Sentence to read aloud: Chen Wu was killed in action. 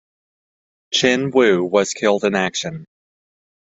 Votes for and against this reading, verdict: 2, 0, accepted